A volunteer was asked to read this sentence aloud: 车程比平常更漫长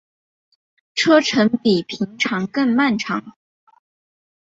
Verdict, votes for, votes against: accepted, 2, 0